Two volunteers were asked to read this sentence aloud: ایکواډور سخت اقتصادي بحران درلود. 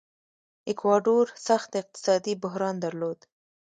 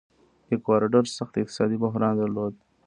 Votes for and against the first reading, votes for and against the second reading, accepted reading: 2, 0, 0, 2, first